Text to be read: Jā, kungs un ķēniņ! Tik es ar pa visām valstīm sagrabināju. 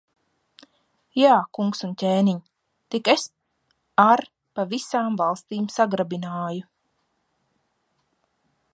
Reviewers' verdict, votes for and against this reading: rejected, 1, 2